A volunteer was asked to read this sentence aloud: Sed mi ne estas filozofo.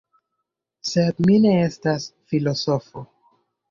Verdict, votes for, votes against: rejected, 0, 2